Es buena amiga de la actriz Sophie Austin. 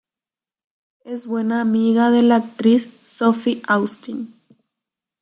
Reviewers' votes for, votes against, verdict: 2, 0, accepted